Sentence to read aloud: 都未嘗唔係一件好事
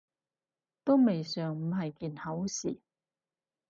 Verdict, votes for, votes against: rejected, 2, 4